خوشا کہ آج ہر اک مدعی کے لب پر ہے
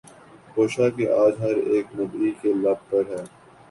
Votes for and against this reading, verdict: 3, 0, accepted